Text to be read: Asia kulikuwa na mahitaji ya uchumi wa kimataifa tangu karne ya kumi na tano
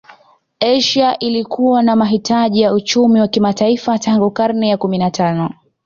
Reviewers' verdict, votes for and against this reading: rejected, 0, 2